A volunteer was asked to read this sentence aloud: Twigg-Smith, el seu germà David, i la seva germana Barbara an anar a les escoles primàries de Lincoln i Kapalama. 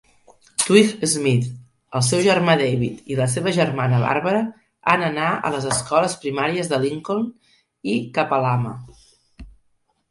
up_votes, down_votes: 7, 4